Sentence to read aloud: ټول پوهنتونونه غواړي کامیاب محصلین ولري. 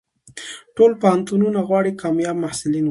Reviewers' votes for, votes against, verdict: 2, 0, accepted